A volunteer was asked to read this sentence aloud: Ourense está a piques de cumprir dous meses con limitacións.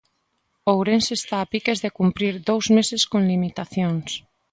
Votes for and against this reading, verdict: 2, 0, accepted